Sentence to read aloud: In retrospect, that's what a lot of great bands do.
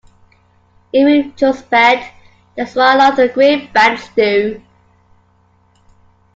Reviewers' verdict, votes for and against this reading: rejected, 1, 2